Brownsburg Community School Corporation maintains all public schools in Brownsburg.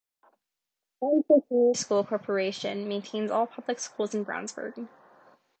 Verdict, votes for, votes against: accepted, 2, 0